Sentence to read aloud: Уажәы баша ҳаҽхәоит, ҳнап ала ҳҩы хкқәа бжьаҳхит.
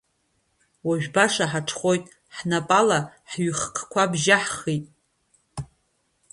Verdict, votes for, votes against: rejected, 0, 2